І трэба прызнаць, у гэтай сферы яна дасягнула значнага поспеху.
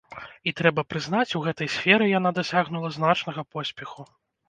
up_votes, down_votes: 1, 2